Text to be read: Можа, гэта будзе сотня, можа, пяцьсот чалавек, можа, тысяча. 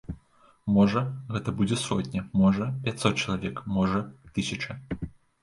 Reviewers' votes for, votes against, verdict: 2, 0, accepted